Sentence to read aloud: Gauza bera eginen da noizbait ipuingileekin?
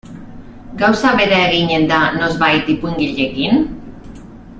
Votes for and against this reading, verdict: 0, 2, rejected